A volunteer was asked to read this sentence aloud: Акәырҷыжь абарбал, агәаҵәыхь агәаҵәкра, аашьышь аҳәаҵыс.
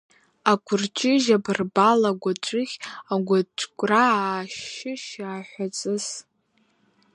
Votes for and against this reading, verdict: 3, 1, accepted